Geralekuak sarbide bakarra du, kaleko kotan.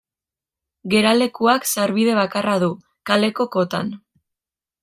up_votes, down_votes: 2, 0